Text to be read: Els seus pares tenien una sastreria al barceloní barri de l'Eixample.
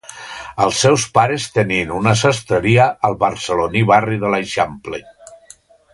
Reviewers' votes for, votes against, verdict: 2, 0, accepted